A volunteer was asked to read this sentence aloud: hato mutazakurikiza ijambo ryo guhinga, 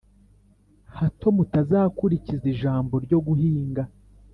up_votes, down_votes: 3, 0